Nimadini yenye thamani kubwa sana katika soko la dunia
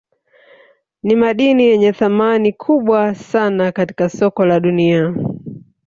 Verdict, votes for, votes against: rejected, 1, 2